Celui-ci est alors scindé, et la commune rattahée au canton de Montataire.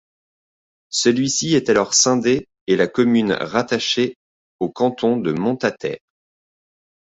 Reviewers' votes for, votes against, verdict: 1, 2, rejected